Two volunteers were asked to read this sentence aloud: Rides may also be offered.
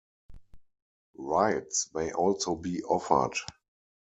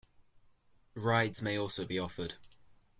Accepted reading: second